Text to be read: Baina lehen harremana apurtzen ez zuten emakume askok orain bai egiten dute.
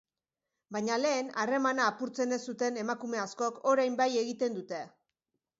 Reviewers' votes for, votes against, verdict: 3, 0, accepted